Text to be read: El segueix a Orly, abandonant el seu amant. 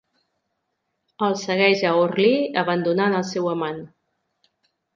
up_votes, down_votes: 3, 0